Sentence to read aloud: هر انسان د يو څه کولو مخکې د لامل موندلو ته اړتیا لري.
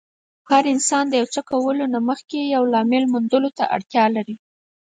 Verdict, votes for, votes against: accepted, 4, 0